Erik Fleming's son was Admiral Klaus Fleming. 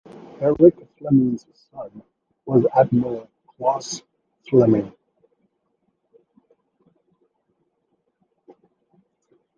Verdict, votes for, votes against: accepted, 2, 0